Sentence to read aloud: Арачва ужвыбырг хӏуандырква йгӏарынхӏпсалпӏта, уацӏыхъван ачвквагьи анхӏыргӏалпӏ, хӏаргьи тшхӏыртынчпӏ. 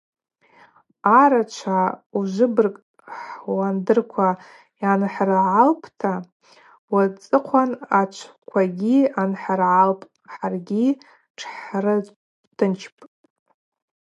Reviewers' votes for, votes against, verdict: 0, 2, rejected